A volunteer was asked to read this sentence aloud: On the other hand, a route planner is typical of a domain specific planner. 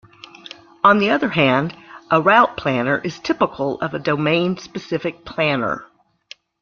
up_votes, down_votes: 2, 0